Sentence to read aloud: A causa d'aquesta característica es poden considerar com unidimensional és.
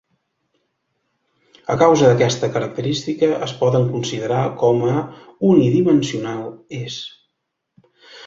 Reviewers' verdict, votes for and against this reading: rejected, 1, 2